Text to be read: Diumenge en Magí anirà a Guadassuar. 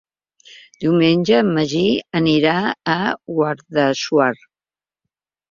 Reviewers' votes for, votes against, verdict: 2, 1, accepted